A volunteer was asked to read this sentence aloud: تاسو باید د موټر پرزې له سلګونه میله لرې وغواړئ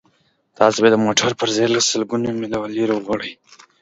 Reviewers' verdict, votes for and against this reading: accepted, 2, 1